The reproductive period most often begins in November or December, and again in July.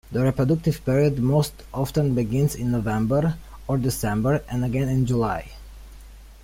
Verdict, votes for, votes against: accepted, 2, 0